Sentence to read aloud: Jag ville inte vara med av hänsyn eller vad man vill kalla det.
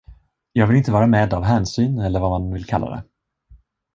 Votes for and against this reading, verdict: 1, 2, rejected